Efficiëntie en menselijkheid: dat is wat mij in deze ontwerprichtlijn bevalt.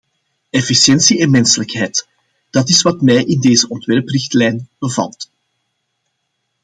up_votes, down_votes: 2, 0